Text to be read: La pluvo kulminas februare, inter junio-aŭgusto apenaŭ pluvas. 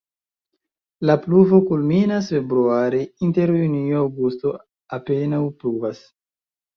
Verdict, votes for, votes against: rejected, 1, 2